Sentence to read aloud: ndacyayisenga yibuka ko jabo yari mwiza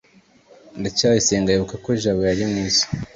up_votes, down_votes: 2, 0